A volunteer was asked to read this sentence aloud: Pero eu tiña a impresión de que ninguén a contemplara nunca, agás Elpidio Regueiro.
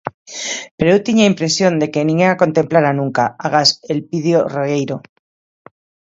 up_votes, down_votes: 2, 1